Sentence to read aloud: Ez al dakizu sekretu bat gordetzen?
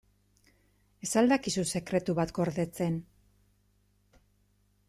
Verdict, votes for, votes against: accepted, 3, 0